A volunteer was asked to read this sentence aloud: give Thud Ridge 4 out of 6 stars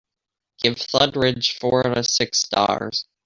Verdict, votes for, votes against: rejected, 0, 2